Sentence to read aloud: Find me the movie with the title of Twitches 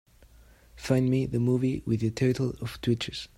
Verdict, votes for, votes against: accepted, 3, 0